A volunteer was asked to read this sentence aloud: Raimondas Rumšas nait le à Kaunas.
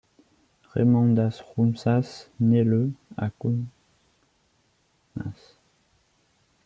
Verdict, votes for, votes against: rejected, 1, 2